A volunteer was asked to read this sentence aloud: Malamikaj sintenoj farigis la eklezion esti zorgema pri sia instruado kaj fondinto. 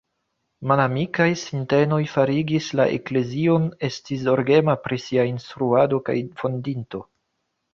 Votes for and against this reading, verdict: 2, 0, accepted